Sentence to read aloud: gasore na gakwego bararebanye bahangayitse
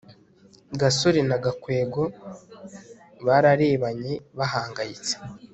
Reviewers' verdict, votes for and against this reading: accepted, 2, 0